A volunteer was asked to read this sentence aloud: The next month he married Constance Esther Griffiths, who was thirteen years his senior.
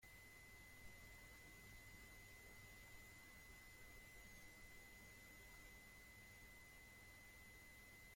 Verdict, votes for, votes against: rejected, 0, 2